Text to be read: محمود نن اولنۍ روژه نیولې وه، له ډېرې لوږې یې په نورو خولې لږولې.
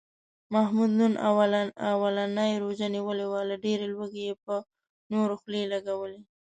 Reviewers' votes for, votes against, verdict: 1, 2, rejected